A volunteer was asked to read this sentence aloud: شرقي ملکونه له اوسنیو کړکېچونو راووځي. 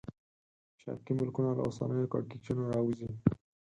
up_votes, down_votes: 0, 4